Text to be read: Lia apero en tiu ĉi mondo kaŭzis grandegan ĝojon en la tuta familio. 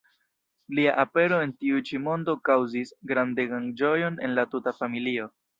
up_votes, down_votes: 0, 2